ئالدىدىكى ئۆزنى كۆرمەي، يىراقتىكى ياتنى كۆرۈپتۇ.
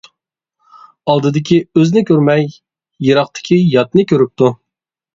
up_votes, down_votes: 2, 0